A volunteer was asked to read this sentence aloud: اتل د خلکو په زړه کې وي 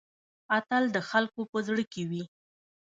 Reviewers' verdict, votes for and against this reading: rejected, 1, 2